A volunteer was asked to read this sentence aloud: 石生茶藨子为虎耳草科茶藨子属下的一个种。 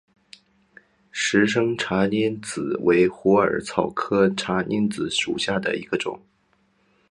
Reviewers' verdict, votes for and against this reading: accepted, 4, 3